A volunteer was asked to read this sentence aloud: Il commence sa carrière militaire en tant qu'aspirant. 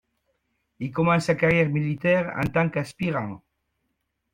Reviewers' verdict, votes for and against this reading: accepted, 2, 0